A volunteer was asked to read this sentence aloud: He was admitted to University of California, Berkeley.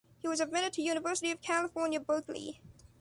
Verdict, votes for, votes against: accepted, 2, 1